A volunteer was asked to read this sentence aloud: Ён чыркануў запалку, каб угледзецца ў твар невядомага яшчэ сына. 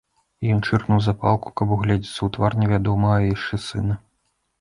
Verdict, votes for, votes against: rejected, 0, 2